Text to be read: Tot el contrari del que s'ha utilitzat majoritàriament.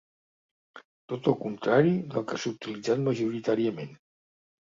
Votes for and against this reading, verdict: 2, 0, accepted